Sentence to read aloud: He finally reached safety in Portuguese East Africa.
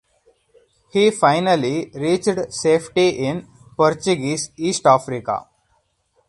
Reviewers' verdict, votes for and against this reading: rejected, 2, 4